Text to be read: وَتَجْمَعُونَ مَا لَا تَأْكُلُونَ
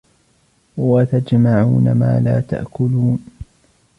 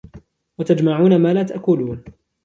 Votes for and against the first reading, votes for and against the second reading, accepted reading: 1, 2, 2, 0, second